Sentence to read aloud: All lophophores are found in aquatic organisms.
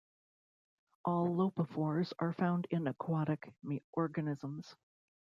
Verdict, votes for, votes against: rejected, 1, 2